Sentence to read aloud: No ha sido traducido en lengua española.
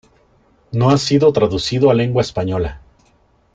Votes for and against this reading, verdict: 0, 2, rejected